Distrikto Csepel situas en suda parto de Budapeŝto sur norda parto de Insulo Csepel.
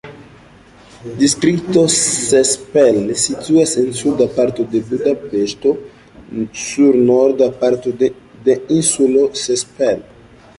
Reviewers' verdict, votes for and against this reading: rejected, 0, 2